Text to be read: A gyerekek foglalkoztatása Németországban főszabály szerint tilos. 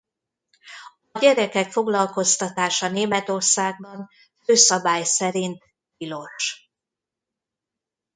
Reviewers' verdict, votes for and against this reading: rejected, 0, 2